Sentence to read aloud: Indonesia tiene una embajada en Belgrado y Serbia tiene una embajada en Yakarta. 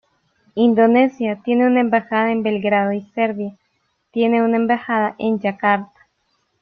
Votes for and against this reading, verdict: 0, 2, rejected